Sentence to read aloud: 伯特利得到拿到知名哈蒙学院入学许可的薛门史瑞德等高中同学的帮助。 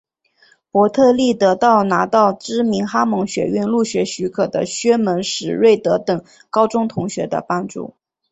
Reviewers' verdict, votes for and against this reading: accepted, 3, 0